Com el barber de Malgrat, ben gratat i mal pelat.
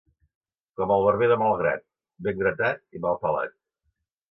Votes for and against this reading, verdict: 3, 0, accepted